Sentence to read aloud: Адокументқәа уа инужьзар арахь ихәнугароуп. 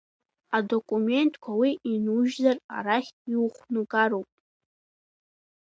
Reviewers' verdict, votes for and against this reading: rejected, 1, 2